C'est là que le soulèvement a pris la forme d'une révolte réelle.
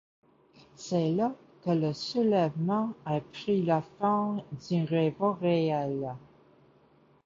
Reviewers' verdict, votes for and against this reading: accepted, 2, 0